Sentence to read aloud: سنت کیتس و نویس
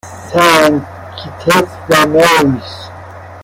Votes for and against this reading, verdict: 0, 2, rejected